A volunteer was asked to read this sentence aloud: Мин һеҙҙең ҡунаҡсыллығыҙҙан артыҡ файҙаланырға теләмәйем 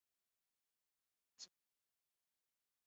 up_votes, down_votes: 0, 4